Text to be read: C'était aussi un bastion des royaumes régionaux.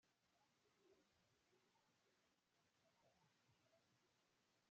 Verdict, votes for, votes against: rejected, 0, 2